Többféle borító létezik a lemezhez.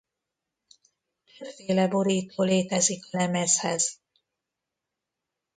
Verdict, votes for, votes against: rejected, 0, 2